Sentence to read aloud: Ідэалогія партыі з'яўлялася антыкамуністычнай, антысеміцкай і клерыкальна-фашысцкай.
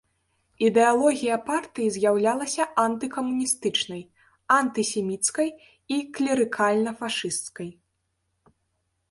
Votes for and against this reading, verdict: 2, 0, accepted